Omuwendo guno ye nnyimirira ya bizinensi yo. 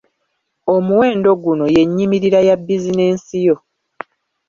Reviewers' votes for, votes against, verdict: 1, 2, rejected